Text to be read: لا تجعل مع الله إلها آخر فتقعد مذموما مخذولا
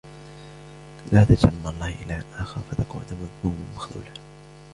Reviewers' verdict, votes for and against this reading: accepted, 2, 0